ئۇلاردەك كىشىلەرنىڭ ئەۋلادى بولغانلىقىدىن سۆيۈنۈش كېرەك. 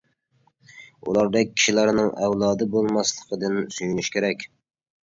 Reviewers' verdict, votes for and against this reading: rejected, 0, 2